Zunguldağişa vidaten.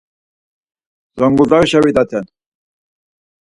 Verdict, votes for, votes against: accepted, 4, 2